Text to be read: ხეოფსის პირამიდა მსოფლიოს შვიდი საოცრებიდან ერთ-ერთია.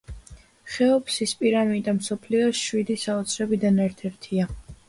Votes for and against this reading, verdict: 2, 0, accepted